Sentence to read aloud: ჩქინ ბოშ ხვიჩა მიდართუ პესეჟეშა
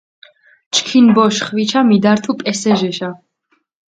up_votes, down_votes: 0, 4